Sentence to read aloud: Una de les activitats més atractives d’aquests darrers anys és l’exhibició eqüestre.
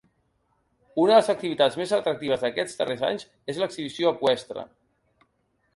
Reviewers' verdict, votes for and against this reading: accepted, 2, 0